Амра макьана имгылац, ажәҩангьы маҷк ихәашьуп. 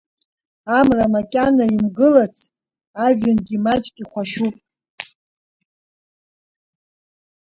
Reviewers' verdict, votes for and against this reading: accepted, 2, 1